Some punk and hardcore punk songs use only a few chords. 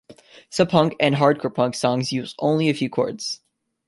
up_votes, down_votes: 2, 0